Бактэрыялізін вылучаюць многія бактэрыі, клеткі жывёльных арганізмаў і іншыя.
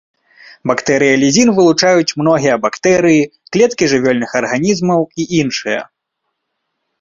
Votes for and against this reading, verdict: 2, 0, accepted